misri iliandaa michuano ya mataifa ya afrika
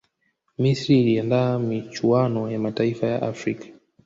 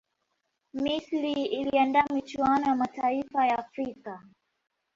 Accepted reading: first